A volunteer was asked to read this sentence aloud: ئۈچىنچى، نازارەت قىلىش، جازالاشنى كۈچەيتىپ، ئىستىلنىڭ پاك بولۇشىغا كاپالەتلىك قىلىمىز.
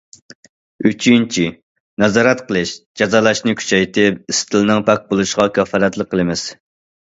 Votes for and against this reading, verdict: 2, 0, accepted